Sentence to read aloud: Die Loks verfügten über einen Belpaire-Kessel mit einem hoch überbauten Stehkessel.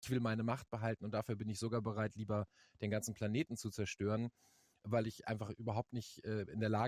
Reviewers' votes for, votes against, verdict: 0, 2, rejected